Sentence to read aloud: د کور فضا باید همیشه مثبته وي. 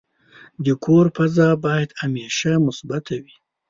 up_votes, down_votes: 2, 0